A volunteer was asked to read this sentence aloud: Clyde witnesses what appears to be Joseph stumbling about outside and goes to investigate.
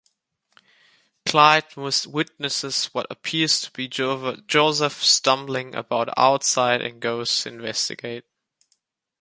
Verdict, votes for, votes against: rejected, 0, 2